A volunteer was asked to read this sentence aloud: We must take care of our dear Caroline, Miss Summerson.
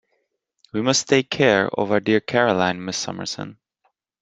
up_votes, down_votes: 2, 0